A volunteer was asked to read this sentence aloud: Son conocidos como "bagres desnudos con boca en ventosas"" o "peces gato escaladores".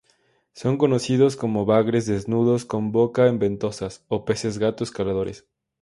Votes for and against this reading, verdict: 2, 0, accepted